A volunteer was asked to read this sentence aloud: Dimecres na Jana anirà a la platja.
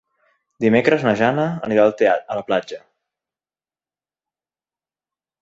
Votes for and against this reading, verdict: 0, 2, rejected